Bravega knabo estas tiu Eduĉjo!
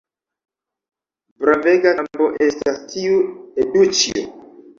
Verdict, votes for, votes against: rejected, 1, 2